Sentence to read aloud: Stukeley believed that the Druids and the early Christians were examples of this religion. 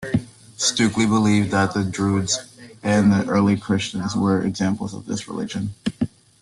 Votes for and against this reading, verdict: 2, 1, accepted